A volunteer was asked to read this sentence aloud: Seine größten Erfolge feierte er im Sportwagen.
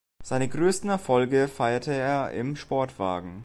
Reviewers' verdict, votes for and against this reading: accepted, 2, 0